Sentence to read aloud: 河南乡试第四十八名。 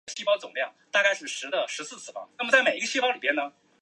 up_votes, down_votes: 3, 4